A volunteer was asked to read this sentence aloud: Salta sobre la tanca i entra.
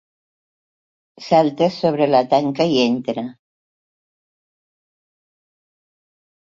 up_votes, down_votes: 3, 0